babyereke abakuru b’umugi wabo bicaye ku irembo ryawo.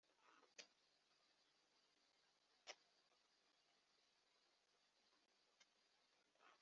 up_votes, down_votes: 0, 2